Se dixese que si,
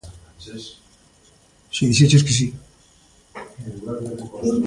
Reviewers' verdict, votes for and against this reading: rejected, 0, 2